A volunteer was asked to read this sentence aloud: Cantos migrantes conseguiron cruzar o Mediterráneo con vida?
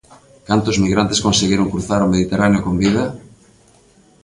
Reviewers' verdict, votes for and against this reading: accepted, 2, 0